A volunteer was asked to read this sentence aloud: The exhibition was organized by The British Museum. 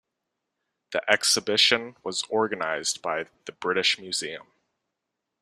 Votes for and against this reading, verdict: 2, 0, accepted